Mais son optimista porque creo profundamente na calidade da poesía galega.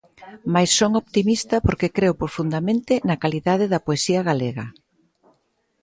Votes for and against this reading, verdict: 2, 0, accepted